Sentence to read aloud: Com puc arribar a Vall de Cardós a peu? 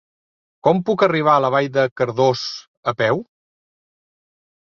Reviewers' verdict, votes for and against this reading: rejected, 0, 2